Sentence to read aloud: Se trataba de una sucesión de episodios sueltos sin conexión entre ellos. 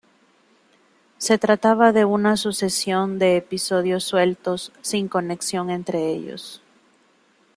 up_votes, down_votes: 2, 1